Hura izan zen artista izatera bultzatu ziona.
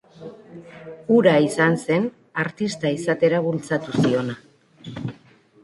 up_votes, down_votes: 2, 0